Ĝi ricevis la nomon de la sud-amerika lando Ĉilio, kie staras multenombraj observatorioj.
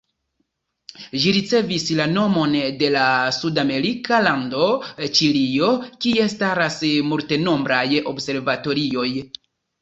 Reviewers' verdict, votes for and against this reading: rejected, 1, 2